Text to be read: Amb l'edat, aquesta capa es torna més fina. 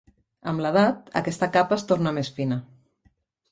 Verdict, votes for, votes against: accepted, 3, 0